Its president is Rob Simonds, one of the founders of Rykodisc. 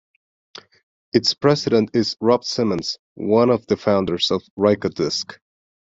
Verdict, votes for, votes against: accepted, 2, 0